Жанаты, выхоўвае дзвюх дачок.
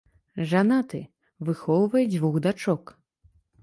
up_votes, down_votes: 3, 0